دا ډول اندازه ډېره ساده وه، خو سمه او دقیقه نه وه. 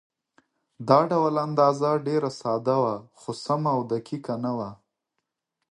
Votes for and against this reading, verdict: 2, 0, accepted